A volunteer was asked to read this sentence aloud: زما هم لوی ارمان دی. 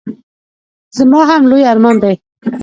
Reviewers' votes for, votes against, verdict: 1, 2, rejected